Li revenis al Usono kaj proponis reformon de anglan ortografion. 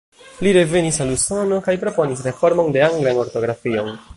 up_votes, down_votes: 0, 2